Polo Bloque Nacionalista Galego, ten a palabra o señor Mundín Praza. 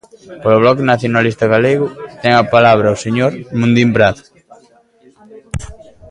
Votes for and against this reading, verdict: 1, 2, rejected